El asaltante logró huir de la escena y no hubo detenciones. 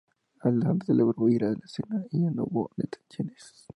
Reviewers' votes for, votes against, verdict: 0, 2, rejected